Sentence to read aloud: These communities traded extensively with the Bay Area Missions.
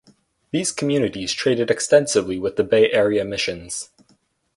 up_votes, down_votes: 4, 0